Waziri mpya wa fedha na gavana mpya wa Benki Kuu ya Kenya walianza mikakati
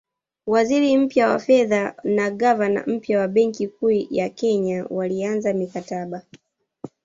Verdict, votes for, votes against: accepted, 2, 0